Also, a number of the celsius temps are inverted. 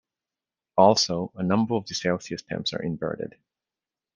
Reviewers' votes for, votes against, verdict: 2, 0, accepted